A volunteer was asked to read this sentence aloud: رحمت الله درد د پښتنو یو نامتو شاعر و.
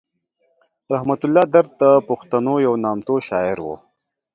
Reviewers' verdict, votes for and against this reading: accepted, 2, 0